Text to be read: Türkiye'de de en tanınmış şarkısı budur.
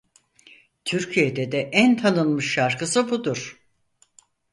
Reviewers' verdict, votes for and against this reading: accepted, 4, 0